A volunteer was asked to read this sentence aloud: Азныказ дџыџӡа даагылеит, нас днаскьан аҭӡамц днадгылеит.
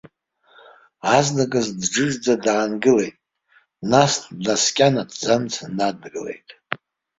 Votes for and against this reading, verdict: 0, 2, rejected